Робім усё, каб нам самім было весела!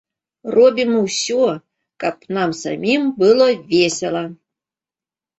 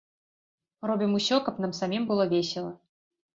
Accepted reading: second